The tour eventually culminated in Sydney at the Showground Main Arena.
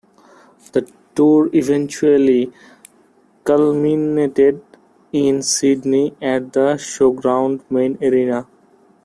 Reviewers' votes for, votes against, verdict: 0, 2, rejected